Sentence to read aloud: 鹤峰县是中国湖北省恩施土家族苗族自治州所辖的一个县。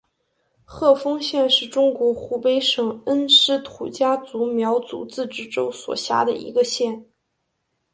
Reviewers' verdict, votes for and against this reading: accepted, 3, 0